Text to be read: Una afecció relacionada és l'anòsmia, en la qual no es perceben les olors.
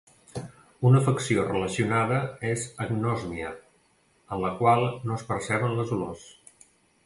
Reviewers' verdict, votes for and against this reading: rejected, 1, 2